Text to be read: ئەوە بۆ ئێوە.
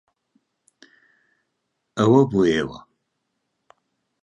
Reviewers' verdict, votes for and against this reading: accepted, 2, 0